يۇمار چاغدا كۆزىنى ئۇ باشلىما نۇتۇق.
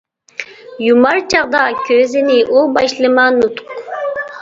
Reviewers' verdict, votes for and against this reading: accepted, 2, 1